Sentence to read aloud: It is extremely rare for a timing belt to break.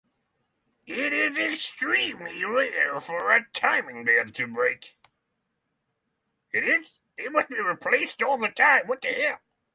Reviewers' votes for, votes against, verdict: 0, 6, rejected